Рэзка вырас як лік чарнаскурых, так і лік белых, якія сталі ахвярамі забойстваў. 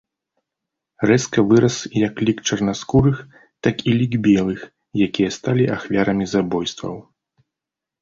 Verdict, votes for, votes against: accepted, 2, 0